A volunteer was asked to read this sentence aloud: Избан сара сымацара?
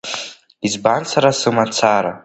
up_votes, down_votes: 2, 0